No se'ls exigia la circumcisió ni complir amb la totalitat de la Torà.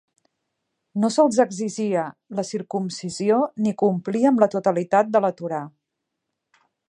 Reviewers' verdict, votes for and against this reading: accepted, 2, 0